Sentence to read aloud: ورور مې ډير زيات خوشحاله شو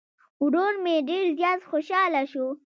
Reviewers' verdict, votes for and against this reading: rejected, 1, 2